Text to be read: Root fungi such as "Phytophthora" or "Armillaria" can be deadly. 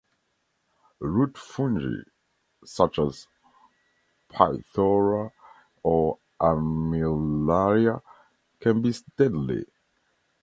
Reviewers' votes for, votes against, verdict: 0, 2, rejected